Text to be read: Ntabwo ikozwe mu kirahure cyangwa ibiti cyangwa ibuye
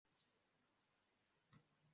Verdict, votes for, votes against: accepted, 2, 1